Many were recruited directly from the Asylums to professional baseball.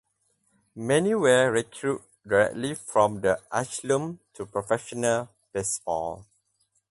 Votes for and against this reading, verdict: 0, 2, rejected